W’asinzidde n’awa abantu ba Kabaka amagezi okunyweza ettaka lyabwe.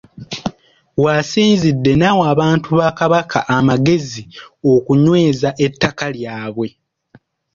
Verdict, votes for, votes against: accepted, 2, 0